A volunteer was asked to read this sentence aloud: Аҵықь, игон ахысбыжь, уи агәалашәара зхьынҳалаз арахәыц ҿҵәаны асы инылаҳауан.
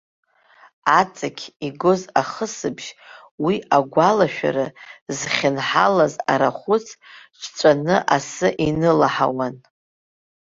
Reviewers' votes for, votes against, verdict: 0, 2, rejected